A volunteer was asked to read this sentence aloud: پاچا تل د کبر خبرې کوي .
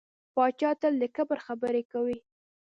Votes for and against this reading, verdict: 2, 0, accepted